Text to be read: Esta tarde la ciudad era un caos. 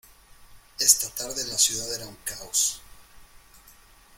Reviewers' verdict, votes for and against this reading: accepted, 2, 1